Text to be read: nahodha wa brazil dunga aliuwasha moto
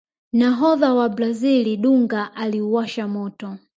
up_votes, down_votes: 1, 2